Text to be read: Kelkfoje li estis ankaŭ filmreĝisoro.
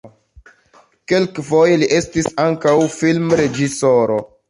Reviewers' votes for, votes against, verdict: 2, 1, accepted